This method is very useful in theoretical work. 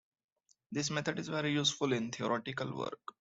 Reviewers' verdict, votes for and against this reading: accepted, 2, 0